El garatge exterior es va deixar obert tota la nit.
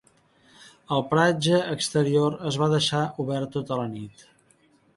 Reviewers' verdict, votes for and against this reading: rejected, 1, 2